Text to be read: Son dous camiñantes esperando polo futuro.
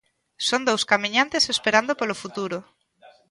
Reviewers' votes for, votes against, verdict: 2, 0, accepted